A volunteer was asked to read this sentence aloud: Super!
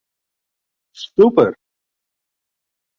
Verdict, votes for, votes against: rejected, 0, 2